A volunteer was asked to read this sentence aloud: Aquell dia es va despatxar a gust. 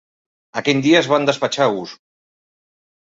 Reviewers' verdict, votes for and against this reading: rejected, 0, 2